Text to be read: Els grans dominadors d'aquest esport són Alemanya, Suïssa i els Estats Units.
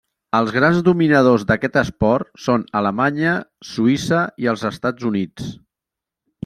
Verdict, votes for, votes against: accepted, 3, 0